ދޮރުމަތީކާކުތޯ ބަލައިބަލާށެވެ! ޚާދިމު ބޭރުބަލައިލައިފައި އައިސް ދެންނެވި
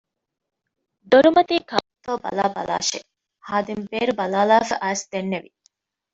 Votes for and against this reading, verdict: 2, 0, accepted